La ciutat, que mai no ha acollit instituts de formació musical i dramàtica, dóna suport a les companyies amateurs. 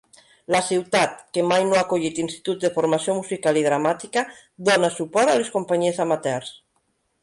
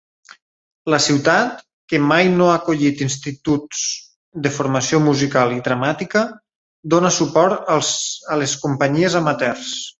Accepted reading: first